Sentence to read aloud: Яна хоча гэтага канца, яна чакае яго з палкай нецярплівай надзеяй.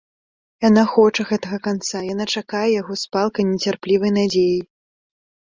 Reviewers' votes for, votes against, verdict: 2, 0, accepted